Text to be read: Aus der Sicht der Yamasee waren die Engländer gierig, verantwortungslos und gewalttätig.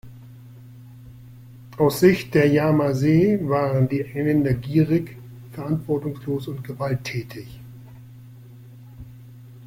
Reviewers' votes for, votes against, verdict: 2, 1, accepted